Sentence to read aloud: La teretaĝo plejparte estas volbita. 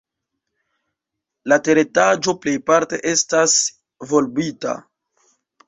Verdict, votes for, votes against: rejected, 0, 2